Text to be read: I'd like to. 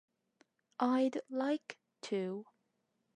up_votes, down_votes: 2, 0